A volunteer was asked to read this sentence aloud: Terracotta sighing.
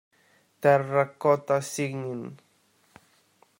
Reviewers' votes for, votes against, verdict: 0, 2, rejected